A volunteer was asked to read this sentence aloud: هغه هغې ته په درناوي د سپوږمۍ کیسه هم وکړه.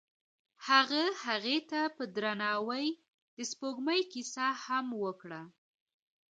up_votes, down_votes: 2, 0